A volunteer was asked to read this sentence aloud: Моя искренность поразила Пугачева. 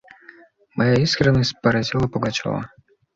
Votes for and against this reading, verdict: 2, 0, accepted